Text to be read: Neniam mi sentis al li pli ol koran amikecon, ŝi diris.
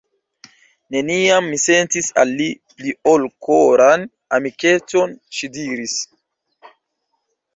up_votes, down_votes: 2, 0